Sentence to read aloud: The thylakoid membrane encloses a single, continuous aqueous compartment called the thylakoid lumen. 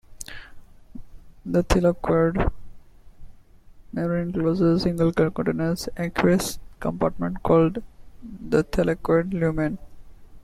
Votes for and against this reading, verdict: 0, 2, rejected